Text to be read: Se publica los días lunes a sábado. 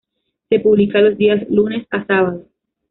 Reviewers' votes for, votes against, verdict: 2, 0, accepted